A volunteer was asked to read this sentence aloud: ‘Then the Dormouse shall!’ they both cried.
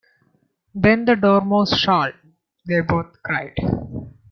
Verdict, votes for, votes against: accepted, 2, 0